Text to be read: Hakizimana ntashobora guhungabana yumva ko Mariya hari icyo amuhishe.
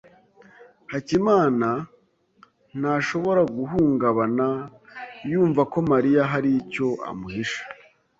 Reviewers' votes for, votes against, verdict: 2, 3, rejected